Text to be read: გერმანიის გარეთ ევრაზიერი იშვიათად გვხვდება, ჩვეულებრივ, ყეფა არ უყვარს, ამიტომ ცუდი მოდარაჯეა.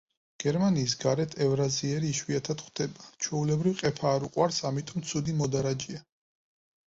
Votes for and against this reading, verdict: 4, 0, accepted